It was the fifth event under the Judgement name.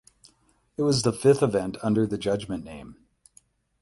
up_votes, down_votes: 8, 0